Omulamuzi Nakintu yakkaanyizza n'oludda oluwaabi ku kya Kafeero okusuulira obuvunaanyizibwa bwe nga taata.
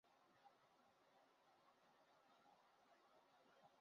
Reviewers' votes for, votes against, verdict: 0, 2, rejected